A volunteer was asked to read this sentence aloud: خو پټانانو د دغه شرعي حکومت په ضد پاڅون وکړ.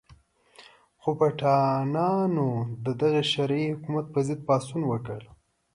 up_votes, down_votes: 2, 0